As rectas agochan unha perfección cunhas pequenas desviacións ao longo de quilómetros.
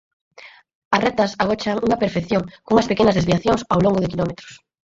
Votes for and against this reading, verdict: 4, 0, accepted